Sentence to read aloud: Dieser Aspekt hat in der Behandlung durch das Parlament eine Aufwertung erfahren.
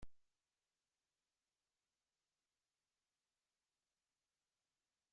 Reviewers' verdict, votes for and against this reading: rejected, 0, 2